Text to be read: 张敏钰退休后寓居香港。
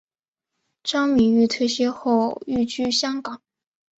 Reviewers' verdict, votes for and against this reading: accepted, 2, 0